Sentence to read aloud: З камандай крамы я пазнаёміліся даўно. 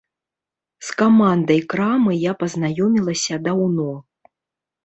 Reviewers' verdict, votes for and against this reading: rejected, 1, 2